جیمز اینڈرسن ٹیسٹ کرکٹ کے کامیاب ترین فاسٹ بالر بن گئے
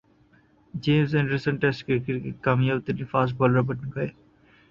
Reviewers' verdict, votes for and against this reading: rejected, 0, 2